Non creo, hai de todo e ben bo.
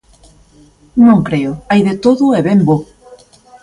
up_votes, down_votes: 2, 0